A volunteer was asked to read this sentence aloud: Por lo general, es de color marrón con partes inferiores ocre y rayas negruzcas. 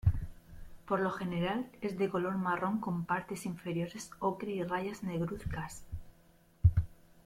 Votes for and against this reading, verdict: 0, 2, rejected